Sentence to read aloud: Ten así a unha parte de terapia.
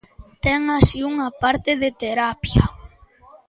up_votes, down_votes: 1, 2